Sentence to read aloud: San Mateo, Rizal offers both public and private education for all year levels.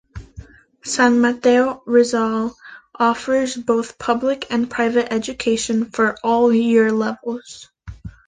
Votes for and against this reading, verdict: 2, 1, accepted